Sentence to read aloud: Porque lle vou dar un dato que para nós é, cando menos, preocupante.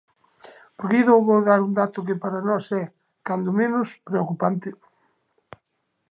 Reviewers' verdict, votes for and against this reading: rejected, 0, 2